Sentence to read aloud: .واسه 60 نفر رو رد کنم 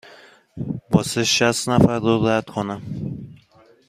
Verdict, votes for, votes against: rejected, 0, 2